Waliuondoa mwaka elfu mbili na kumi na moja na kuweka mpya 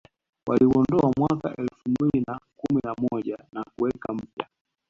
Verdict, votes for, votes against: accepted, 2, 1